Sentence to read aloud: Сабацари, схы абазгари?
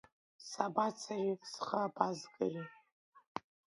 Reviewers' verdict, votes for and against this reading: accepted, 2, 0